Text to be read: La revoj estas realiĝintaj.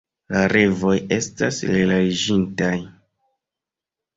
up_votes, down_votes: 1, 2